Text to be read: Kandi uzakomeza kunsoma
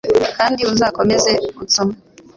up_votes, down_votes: 3, 0